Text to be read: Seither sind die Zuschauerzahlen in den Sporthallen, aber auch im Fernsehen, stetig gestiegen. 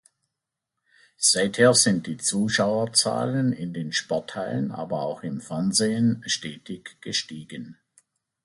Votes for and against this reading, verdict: 2, 0, accepted